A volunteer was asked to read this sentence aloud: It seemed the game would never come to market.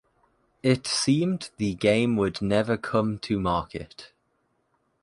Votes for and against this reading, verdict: 2, 0, accepted